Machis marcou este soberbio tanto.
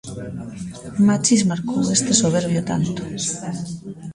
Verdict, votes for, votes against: rejected, 1, 2